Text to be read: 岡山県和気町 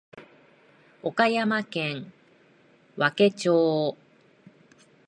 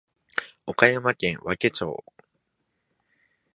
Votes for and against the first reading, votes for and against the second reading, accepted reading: 1, 2, 2, 0, second